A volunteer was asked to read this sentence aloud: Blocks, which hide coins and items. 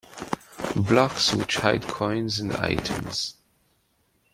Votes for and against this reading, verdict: 2, 1, accepted